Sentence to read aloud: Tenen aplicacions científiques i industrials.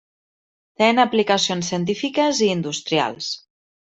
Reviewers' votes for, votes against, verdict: 1, 2, rejected